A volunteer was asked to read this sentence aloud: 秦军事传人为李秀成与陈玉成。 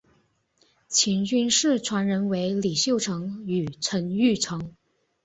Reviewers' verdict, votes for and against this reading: accepted, 4, 0